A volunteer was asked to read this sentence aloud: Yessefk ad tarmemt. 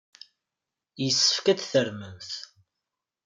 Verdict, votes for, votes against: accepted, 2, 0